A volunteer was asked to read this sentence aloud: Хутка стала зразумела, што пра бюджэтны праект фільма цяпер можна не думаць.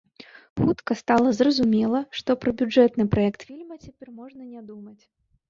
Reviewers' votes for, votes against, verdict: 1, 2, rejected